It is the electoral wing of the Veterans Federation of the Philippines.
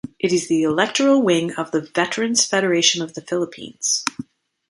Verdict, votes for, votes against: rejected, 1, 2